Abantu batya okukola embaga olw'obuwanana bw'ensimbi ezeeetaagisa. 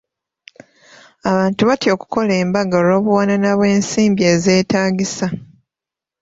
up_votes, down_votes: 3, 0